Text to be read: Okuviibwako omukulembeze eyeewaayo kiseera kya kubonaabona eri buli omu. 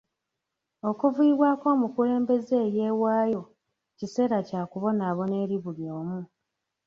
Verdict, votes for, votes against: rejected, 0, 2